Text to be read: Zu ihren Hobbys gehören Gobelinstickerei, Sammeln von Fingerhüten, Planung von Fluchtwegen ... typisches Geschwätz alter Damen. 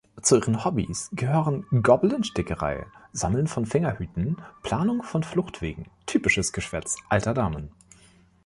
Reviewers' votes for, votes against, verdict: 1, 2, rejected